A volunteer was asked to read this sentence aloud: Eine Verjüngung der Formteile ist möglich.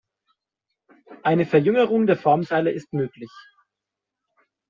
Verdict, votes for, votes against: rejected, 1, 2